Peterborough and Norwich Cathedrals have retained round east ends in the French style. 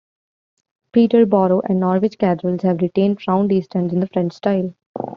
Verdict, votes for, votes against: accepted, 2, 0